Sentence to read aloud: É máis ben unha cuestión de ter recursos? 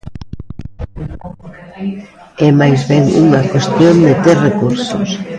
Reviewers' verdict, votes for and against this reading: accepted, 2, 1